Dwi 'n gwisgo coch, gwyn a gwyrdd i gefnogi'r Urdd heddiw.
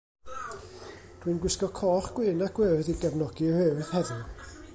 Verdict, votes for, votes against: rejected, 1, 2